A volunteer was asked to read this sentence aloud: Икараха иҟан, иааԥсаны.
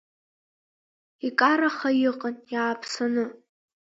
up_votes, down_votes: 2, 0